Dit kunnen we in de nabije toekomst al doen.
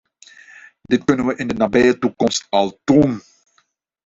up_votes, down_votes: 2, 0